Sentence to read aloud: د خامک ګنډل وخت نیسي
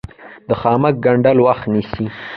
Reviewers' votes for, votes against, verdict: 1, 2, rejected